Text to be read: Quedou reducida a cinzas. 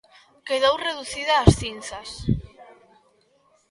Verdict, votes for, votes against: rejected, 0, 2